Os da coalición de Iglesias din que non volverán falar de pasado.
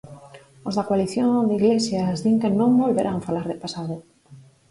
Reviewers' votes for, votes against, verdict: 2, 4, rejected